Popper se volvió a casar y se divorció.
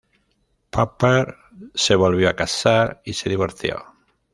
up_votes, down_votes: 0, 2